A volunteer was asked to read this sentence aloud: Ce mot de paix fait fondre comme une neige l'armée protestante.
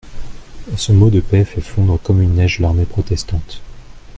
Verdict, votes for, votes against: accepted, 2, 0